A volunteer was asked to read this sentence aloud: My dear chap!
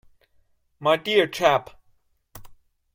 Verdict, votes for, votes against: accepted, 2, 0